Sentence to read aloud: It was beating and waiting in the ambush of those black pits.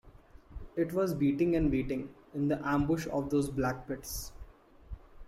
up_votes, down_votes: 2, 0